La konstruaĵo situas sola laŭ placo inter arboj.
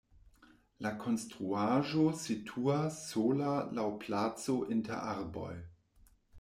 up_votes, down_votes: 2, 0